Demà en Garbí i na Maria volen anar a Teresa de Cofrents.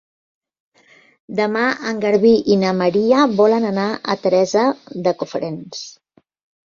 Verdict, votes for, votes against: accepted, 5, 0